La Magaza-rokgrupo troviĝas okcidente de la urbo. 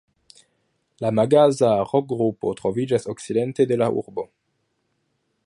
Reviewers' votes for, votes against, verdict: 2, 3, rejected